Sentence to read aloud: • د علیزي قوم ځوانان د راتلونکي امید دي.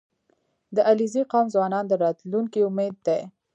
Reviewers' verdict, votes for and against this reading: accepted, 2, 0